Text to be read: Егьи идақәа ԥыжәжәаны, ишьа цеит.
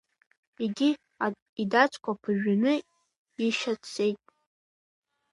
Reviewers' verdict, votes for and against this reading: rejected, 0, 3